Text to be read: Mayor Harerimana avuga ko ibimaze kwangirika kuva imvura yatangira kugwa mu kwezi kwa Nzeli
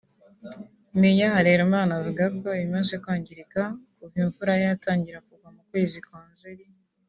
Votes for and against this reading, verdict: 2, 0, accepted